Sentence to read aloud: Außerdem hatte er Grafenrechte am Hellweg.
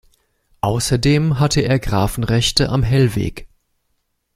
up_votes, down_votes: 2, 0